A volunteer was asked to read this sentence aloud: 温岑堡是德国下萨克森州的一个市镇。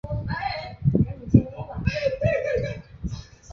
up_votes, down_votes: 0, 2